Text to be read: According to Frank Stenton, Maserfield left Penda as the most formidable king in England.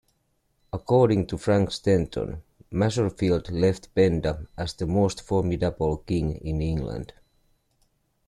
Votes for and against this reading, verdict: 2, 0, accepted